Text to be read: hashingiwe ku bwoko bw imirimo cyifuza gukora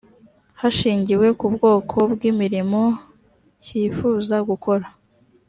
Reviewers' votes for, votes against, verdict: 2, 0, accepted